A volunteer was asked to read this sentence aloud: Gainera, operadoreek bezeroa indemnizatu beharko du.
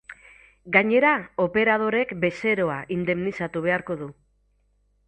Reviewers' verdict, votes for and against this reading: accepted, 4, 0